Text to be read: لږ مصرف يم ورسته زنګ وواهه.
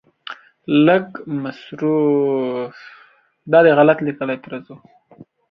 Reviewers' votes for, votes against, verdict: 0, 2, rejected